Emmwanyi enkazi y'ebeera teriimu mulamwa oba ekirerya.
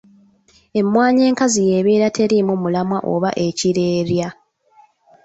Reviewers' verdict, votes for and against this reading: accepted, 2, 0